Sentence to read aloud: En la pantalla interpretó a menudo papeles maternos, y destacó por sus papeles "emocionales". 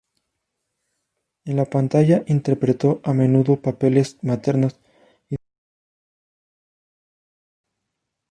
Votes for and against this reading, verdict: 0, 2, rejected